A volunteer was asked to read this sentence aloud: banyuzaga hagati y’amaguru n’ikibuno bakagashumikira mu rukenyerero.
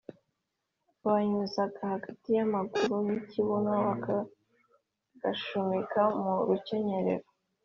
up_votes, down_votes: 2, 0